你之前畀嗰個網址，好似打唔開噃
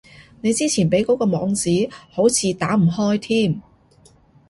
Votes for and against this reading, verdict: 0, 2, rejected